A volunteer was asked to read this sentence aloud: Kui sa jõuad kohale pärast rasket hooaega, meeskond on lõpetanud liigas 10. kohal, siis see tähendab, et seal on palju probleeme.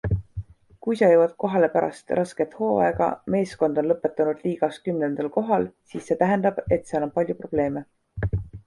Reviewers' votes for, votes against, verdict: 0, 2, rejected